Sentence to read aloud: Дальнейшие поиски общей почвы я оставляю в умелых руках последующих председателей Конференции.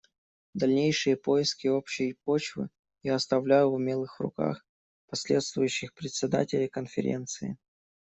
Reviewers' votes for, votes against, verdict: 0, 2, rejected